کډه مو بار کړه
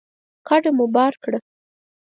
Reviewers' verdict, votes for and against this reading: accepted, 4, 0